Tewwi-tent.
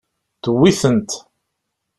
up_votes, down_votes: 2, 0